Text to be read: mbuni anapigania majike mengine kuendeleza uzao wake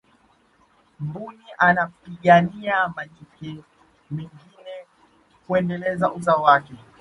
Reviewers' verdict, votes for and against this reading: rejected, 1, 2